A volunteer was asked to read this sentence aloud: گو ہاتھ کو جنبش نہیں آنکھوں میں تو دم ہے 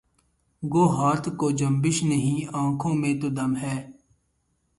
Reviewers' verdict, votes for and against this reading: rejected, 2, 2